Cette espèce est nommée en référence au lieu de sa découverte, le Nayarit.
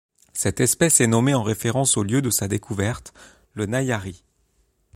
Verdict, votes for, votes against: accepted, 2, 0